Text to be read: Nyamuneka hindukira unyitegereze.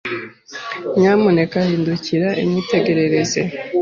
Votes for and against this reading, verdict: 2, 1, accepted